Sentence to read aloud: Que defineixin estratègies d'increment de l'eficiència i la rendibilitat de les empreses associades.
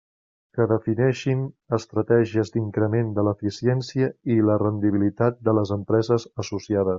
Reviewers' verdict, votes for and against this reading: accepted, 3, 0